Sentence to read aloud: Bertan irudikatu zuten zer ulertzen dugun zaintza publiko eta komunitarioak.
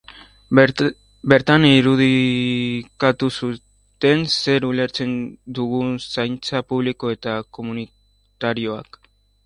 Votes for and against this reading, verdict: 0, 2, rejected